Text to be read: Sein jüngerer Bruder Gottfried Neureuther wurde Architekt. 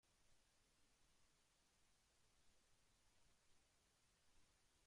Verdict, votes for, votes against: rejected, 0, 2